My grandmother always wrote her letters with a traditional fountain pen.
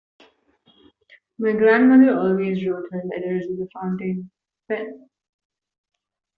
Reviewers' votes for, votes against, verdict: 0, 2, rejected